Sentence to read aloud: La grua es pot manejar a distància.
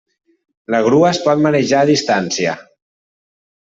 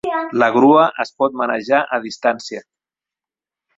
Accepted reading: first